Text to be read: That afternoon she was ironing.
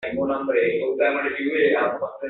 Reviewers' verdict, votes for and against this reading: rejected, 1, 2